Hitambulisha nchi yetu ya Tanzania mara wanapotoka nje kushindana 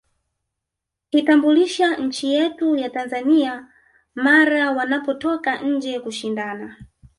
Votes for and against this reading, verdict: 1, 2, rejected